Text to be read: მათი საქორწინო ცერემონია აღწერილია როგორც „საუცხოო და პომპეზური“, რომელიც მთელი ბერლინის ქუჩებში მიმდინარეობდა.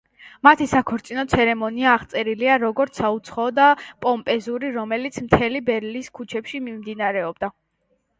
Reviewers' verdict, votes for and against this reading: rejected, 1, 2